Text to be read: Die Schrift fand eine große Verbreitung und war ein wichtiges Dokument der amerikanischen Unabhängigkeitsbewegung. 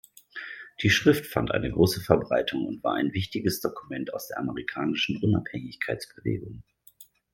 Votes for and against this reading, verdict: 1, 2, rejected